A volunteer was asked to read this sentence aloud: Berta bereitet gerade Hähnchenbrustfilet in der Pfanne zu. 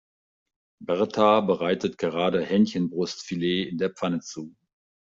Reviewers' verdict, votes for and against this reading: accepted, 2, 0